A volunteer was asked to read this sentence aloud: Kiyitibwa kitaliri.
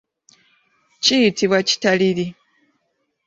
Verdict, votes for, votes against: accepted, 2, 0